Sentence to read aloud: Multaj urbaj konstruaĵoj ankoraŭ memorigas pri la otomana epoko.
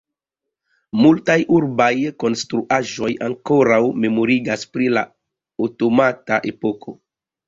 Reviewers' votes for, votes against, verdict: 0, 2, rejected